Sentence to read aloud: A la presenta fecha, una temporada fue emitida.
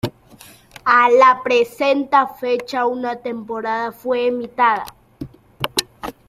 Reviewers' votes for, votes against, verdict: 1, 2, rejected